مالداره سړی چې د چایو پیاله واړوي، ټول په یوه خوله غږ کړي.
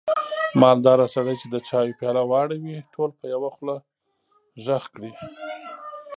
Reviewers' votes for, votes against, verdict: 1, 2, rejected